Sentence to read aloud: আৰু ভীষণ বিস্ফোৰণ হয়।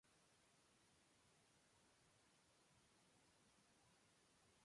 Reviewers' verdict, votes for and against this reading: rejected, 0, 3